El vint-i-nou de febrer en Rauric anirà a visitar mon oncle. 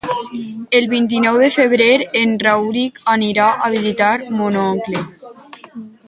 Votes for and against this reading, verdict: 4, 0, accepted